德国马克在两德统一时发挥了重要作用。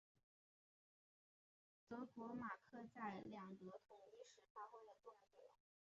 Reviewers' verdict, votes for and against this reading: rejected, 1, 4